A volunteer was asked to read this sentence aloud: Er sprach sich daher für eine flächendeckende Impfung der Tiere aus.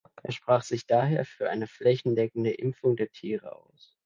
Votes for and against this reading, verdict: 2, 0, accepted